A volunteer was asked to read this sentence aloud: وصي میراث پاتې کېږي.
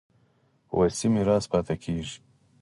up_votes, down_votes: 4, 0